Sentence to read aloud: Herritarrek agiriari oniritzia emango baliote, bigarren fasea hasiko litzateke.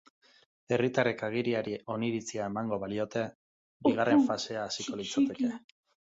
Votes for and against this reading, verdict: 2, 0, accepted